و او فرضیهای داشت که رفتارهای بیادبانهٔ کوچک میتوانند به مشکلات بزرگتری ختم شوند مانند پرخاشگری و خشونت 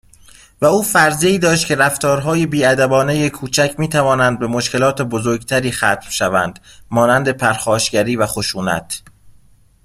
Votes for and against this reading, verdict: 2, 0, accepted